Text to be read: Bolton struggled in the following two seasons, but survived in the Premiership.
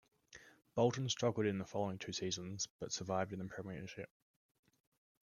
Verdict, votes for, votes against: accepted, 2, 1